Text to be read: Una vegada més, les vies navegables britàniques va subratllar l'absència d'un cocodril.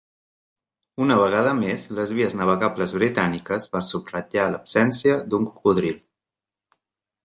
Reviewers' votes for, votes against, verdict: 3, 0, accepted